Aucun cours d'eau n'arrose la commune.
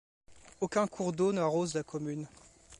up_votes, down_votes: 2, 0